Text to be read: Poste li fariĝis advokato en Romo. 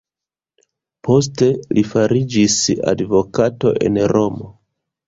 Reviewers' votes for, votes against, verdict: 2, 0, accepted